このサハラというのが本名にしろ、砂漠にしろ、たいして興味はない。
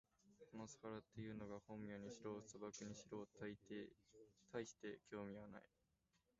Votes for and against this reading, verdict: 0, 2, rejected